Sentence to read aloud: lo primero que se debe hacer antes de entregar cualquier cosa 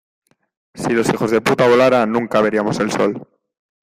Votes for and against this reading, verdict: 0, 2, rejected